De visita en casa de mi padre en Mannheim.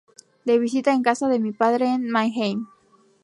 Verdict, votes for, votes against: rejected, 0, 2